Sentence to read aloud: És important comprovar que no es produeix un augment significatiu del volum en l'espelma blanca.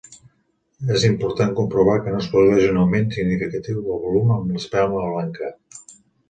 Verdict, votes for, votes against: rejected, 1, 2